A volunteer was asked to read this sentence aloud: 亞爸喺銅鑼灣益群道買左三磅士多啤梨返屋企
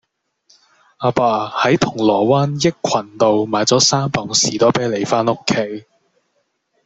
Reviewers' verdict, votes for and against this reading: accepted, 2, 0